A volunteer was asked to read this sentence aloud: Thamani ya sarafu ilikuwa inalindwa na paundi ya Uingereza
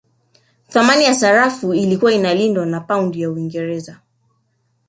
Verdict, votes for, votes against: rejected, 0, 2